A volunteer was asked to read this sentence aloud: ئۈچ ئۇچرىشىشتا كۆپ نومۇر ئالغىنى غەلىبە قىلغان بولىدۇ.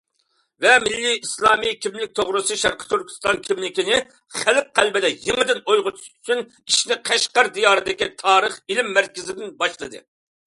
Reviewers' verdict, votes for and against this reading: rejected, 0, 2